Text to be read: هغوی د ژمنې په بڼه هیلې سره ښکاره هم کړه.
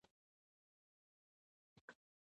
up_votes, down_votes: 0, 2